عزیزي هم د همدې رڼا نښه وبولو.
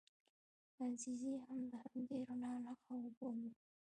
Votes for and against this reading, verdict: 0, 2, rejected